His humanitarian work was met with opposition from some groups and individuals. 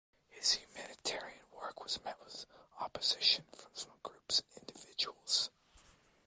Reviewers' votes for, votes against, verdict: 1, 2, rejected